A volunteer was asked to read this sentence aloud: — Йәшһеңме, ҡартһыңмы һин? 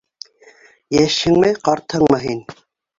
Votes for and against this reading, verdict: 2, 0, accepted